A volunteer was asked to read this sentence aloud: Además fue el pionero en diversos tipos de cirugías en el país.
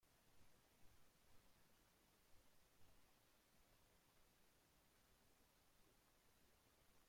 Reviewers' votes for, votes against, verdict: 0, 2, rejected